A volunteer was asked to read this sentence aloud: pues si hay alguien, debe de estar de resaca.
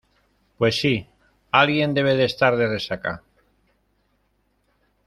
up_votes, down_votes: 0, 2